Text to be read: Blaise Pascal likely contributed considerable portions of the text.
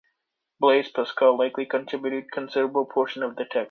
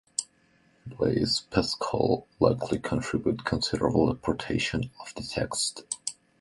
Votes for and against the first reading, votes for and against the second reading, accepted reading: 2, 1, 0, 2, first